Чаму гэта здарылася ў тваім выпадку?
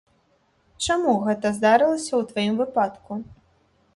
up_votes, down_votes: 1, 2